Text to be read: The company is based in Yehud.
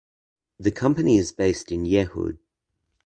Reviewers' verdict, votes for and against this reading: accepted, 2, 0